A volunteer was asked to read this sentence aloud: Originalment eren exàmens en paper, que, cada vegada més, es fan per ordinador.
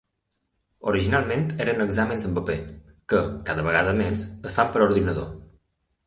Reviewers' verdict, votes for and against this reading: accepted, 2, 0